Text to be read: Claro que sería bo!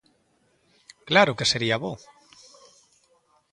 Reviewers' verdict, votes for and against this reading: accepted, 3, 0